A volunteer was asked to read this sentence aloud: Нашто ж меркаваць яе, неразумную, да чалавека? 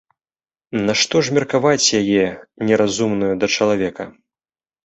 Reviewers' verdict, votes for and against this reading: accepted, 2, 0